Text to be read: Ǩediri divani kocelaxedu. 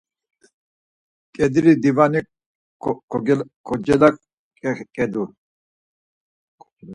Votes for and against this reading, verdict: 0, 4, rejected